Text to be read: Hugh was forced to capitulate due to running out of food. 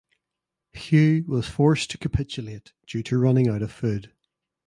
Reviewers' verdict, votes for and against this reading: accepted, 2, 0